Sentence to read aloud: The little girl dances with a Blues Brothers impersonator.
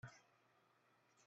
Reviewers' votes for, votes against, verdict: 0, 2, rejected